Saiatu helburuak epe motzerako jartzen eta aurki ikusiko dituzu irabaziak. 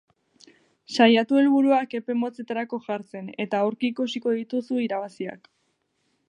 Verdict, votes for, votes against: rejected, 4, 4